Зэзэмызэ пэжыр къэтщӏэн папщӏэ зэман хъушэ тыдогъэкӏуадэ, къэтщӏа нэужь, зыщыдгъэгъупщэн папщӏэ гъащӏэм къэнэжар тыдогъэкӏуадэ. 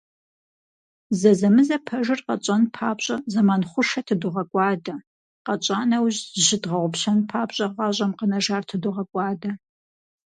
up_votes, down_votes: 6, 0